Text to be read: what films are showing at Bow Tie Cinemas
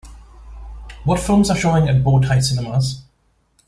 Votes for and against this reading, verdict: 2, 0, accepted